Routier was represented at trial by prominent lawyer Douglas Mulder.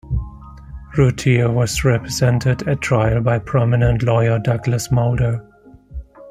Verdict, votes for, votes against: accepted, 2, 0